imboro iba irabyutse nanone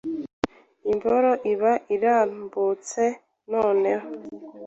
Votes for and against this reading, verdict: 1, 2, rejected